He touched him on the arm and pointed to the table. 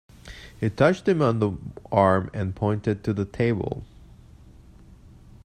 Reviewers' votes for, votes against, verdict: 1, 2, rejected